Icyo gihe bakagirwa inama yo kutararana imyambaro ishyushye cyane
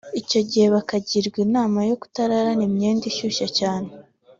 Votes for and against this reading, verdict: 2, 1, accepted